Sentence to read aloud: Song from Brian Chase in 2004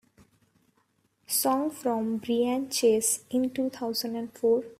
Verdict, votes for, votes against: rejected, 0, 2